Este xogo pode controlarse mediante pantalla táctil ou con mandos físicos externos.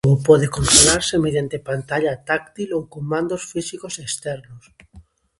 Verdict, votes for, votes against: rejected, 0, 2